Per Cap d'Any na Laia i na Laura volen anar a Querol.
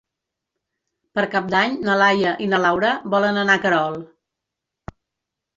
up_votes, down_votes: 3, 0